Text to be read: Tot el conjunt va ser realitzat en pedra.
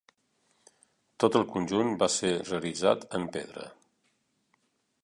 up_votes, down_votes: 1, 2